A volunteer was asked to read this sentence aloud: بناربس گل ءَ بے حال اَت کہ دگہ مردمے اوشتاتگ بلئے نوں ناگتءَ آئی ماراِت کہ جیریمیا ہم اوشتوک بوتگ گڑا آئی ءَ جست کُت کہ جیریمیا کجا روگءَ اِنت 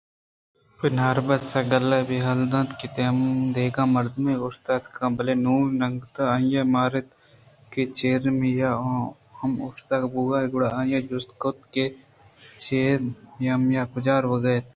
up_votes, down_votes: 2, 0